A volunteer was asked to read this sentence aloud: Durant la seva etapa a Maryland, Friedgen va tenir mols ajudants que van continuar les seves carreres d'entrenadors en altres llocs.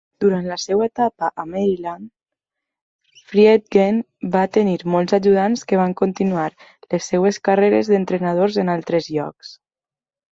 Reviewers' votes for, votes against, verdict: 2, 0, accepted